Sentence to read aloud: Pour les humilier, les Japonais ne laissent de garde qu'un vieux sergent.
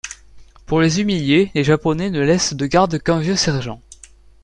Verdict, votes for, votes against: accepted, 2, 0